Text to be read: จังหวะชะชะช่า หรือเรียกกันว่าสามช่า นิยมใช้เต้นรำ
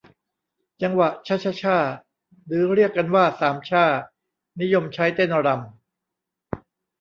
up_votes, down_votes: 2, 0